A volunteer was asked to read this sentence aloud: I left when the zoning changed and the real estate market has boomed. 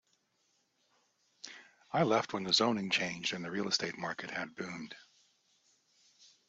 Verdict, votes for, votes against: rejected, 0, 2